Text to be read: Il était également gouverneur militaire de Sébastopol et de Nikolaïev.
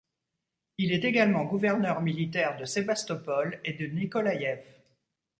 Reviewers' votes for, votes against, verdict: 1, 2, rejected